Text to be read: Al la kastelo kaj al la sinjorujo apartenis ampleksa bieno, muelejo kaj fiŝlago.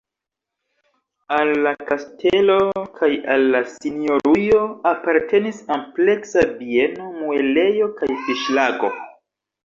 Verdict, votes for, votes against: accepted, 2, 0